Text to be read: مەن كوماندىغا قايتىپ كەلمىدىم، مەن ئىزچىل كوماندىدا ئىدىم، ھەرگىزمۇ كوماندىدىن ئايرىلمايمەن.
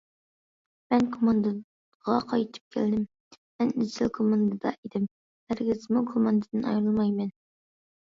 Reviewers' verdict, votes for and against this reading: rejected, 0, 2